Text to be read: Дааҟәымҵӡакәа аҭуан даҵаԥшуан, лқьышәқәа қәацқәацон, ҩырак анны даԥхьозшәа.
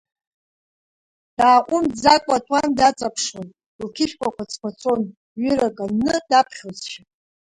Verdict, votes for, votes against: rejected, 1, 2